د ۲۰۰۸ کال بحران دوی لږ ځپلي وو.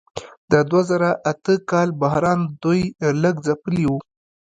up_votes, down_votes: 0, 2